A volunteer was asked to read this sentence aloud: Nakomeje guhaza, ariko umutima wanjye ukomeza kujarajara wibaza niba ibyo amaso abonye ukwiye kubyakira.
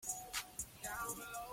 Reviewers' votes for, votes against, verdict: 0, 2, rejected